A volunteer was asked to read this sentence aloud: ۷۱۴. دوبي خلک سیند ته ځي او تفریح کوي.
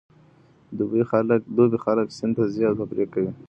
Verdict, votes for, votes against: rejected, 0, 2